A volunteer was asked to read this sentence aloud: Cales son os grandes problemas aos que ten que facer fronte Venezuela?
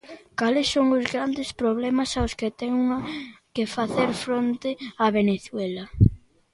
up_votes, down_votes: 0, 2